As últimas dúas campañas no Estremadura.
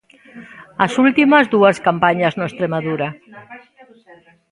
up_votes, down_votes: 2, 1